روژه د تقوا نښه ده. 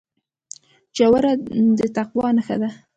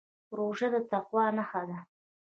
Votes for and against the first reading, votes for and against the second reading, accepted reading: 2, 1, 1, 2, first